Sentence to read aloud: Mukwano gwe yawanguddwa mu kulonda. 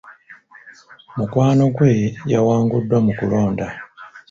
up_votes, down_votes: 2, 1